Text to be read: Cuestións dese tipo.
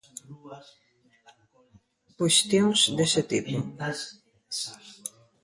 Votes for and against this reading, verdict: 0, 2, rejected